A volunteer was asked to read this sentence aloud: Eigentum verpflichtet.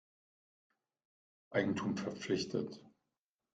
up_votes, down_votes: 2, 0